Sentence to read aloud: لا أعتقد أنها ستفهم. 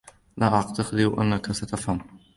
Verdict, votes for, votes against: rejected, 1, 2